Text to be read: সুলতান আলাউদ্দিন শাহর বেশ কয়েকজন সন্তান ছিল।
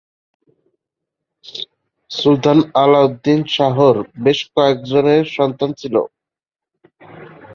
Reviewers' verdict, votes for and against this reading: rejected, 0, 2